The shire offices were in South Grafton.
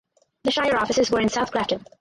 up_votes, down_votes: 2, 4